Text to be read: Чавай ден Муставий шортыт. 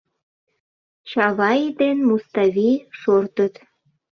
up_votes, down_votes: 2, 0